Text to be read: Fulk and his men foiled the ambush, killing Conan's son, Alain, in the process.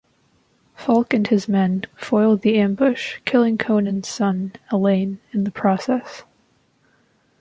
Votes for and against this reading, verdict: 2, 0, accepted